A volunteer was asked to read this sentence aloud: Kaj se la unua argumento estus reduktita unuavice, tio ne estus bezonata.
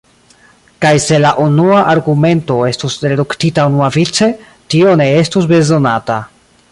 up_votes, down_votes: 1, 2